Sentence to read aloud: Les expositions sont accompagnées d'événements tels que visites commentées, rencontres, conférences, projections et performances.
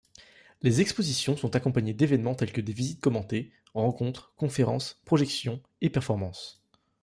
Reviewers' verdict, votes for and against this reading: rejected, 1, 2